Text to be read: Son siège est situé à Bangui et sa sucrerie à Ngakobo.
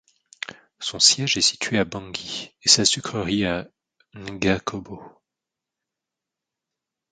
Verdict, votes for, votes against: rejected, 1, 2